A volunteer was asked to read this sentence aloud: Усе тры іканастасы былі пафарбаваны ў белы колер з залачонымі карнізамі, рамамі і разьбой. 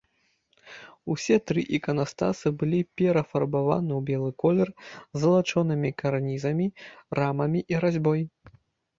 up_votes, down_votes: 0, 2